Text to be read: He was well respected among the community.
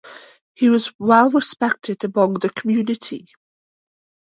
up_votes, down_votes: 2, 0